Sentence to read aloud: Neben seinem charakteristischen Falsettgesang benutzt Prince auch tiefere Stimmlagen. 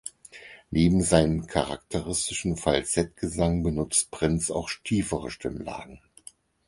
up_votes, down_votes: 2, 4